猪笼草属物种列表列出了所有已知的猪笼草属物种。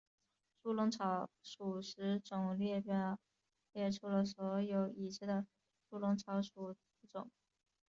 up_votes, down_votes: 3, 0